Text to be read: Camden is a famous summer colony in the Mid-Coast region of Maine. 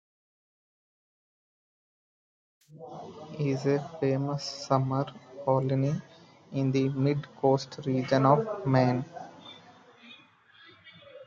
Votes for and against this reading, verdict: 0, 2, rejected